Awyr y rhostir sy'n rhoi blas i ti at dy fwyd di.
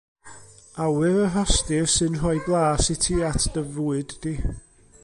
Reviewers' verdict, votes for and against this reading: accepted, 2, 0